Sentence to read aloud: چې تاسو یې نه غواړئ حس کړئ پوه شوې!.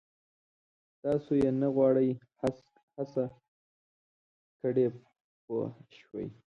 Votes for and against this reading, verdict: 0, 2, rejected